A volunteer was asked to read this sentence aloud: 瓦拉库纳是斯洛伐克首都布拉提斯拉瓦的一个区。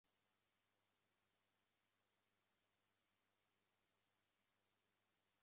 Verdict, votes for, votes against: rejected, 0, 2